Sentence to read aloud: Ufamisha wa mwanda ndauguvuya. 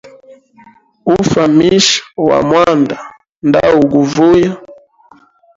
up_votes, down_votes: 0, 2